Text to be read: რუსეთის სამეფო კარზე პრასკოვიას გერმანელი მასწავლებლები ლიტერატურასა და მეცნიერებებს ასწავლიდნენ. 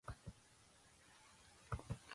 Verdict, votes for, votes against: rejected, 0, 2